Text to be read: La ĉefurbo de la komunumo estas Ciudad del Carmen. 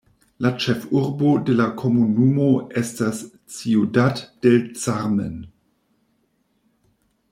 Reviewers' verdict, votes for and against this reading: rejected, 1, 2